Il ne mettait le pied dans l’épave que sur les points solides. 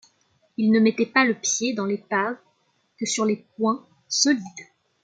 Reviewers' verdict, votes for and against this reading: rejected, 0, 2